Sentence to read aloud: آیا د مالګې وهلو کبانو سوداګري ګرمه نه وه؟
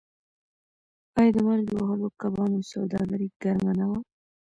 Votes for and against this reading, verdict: 1, 2, rejected